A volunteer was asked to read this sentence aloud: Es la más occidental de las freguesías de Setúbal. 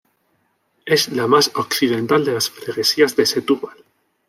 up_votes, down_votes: 1, 2